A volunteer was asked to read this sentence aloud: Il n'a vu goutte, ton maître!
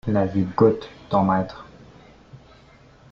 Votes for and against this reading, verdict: 1, 2, rejected